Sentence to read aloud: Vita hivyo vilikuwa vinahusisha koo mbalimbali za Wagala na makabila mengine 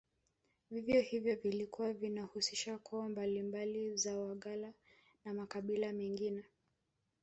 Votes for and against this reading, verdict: 0, 2, rejected